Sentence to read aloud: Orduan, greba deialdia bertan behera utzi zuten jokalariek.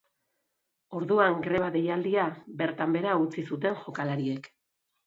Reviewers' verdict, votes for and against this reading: accepted, 2, 0